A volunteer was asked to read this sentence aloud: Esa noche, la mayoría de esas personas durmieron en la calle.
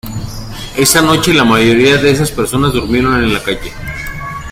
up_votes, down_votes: 2, 0